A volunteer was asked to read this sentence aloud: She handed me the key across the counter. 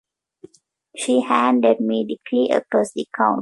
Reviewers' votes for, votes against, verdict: 1, 2, rejected